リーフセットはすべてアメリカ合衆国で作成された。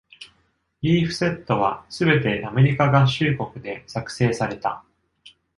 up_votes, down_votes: 2, 0